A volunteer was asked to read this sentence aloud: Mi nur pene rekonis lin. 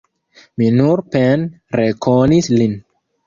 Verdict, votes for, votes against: rejected, 1, 2